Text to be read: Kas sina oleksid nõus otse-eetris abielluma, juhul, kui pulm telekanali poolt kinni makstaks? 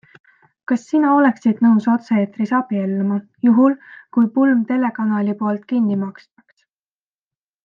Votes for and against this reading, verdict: 2, 0, accepted